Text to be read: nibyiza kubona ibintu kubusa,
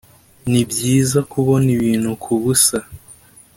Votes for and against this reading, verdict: 2, 0, accepted